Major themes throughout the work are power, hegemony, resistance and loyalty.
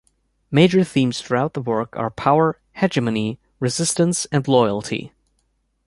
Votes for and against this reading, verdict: 2, 0, accepted